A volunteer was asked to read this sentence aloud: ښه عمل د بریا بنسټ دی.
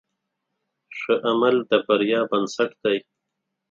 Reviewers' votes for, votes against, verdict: 6, 0, accepted